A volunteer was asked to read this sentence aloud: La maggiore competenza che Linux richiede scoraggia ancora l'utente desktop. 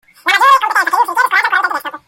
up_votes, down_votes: 0, 2